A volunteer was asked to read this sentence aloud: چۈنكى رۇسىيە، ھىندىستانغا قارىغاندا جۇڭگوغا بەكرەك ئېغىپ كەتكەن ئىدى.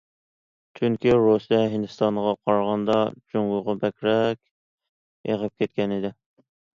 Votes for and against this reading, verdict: 2, 1, accepted